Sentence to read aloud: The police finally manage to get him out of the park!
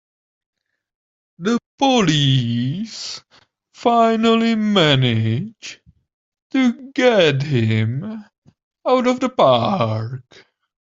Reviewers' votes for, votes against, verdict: 1, 3, rejected